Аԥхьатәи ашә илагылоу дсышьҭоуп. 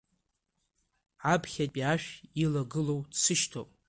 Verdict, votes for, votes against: accepted, 2, 0